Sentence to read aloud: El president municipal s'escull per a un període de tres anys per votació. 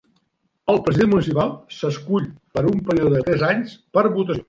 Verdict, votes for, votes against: rejected, 0, 3